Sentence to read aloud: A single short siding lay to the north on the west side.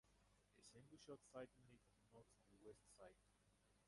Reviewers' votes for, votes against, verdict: 0, 4, rejected